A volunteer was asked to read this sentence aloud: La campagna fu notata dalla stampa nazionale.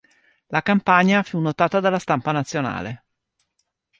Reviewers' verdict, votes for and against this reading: rejected, 0, 2